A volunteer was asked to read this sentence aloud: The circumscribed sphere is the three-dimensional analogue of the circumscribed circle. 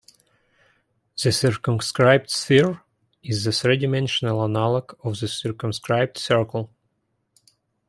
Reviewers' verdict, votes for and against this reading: rejected, 0, 2